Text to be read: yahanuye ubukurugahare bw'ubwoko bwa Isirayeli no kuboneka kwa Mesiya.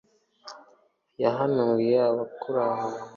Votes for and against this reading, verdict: 0, 2, rejected